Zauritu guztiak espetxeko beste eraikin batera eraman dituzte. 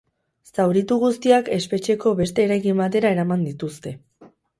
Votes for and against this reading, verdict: 4, 0, accepted